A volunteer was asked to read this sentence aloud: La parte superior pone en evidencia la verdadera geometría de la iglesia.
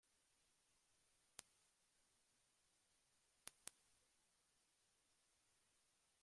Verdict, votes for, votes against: rejected, 0, 2